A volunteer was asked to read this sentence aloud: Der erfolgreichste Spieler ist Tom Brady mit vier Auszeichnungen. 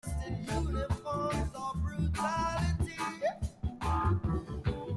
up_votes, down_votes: 0, 2